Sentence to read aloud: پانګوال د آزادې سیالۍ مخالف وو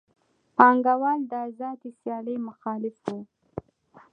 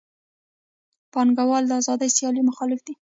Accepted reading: first